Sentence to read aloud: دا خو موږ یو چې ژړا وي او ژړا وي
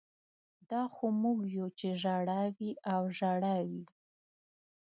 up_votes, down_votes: 1, 2